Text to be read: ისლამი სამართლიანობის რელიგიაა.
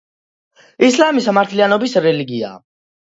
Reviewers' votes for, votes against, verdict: 2, 0, accepted